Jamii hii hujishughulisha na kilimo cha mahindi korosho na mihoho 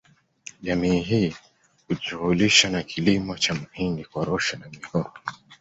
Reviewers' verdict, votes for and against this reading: accepted, 2, 0